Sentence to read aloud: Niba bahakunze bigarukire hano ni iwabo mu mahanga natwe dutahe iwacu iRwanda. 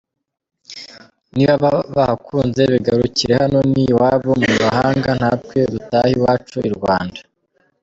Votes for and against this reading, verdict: 1, 3, rejected